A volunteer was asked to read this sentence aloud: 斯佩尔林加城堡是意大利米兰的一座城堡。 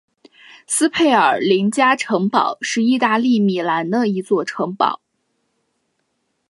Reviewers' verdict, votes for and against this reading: accepted, 2, 0